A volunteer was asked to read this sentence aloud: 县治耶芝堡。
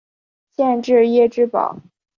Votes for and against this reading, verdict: 3, 0, accepted